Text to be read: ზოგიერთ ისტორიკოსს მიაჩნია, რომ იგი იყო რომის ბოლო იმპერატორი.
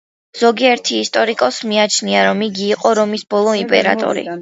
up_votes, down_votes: 2, 0